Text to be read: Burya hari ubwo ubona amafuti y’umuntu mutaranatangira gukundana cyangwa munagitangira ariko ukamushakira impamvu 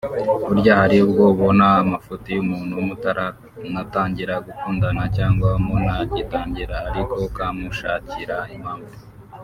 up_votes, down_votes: 4, 2